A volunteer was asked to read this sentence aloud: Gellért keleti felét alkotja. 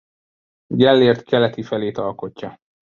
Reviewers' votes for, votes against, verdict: 2, 0, accepted